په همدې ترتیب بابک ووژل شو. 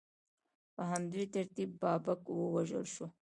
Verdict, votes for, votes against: accepted, 2, 0